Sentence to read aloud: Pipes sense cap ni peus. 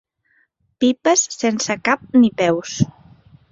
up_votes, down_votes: 3, 0